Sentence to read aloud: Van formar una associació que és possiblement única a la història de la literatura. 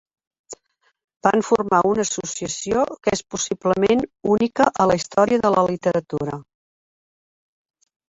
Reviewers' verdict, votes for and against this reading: rejected, 1, 2